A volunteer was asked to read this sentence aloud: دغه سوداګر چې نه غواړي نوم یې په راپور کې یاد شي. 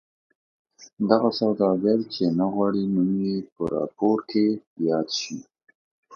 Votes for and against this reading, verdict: 2, 0, accepted